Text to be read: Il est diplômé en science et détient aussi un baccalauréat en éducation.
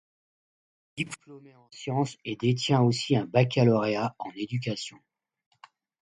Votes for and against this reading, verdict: 1, 2, rejected